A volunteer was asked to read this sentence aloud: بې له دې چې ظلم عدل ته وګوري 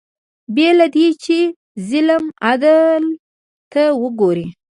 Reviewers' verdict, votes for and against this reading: accepted, 2, 0